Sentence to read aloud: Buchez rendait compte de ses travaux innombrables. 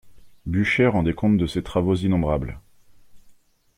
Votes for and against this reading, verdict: 2, 0, accepted